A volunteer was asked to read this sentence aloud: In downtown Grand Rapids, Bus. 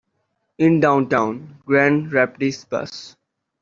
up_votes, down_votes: 2, 0